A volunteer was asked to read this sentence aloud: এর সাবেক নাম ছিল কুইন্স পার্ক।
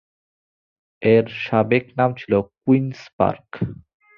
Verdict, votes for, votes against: accepted, 2, 1